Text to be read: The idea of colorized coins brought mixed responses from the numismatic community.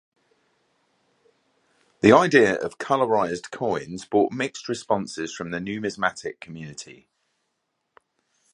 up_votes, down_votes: 2, 0